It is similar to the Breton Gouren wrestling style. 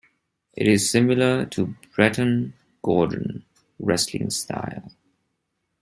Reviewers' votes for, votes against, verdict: 2, 1, accepted